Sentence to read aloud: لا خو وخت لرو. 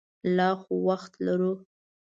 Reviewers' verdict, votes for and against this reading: accepted, 2, 0